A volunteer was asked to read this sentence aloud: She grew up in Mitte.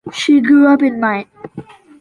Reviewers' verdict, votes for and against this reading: rejected, 0, 2